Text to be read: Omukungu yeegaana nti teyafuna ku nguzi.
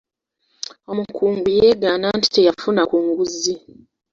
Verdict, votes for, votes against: rejected, 1, 2